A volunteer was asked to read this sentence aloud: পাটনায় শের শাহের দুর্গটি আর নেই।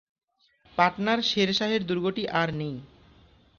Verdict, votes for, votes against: rejected, 1, 2